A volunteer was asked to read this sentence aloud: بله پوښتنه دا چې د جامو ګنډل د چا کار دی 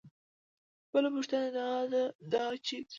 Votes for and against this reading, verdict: 0, 2, rejected